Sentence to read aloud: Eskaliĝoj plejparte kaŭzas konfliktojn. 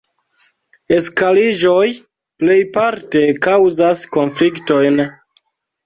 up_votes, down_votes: 0, 2